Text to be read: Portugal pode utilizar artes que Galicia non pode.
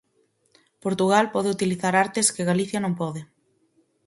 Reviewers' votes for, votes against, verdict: 4, 0, accepted